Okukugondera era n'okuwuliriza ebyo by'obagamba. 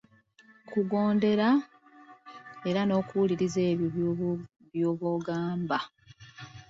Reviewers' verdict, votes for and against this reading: accepted, 2, 1